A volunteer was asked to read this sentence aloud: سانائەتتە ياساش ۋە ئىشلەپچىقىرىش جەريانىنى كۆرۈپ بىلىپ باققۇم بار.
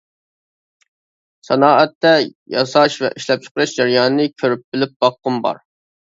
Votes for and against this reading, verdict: 2, 0, accepted